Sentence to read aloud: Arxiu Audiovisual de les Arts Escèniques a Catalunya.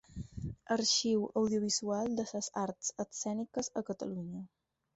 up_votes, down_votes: 2, 4